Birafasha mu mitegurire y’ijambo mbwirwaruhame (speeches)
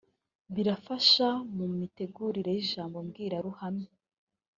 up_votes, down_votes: 0, 2